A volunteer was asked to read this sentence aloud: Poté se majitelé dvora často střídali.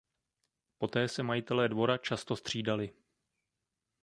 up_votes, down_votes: 2, 0